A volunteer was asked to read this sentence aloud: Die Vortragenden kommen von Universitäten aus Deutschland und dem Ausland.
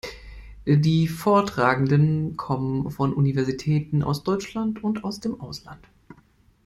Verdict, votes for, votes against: rejected, 1, 2